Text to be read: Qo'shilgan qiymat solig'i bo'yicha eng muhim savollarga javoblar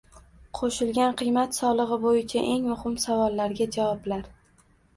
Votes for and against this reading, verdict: 2, 0, accepted